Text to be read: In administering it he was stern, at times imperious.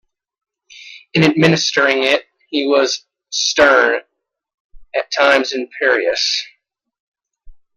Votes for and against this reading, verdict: 2, 1, accepted